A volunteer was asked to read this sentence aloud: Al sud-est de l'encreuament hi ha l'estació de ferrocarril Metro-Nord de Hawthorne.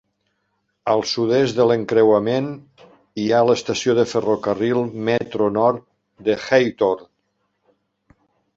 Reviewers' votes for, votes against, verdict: 2, 0, accepted